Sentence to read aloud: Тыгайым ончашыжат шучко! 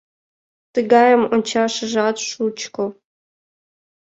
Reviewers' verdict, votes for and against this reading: accepted, 3, 0